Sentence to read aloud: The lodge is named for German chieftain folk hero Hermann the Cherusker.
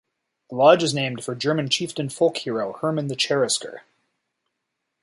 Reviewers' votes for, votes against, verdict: 2, 2, rejected